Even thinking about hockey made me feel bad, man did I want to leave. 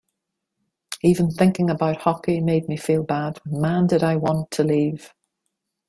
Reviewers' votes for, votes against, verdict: 2, 0, accepted